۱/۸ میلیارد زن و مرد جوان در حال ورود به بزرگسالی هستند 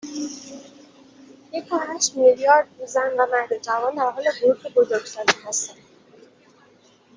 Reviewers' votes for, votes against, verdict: 0, 2, rejected